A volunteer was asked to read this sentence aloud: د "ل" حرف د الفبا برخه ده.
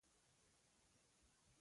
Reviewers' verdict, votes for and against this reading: rejected, 0, 2